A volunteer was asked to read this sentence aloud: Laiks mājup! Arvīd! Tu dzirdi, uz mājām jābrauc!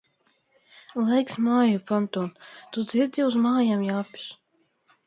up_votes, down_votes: 0, 2